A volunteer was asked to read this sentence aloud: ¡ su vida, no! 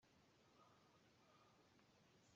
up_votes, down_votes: 0, 2